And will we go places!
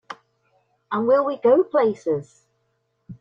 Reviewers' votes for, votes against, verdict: 2, 0, accepted